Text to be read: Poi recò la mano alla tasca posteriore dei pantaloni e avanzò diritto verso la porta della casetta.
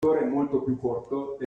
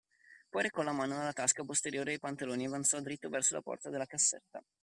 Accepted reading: second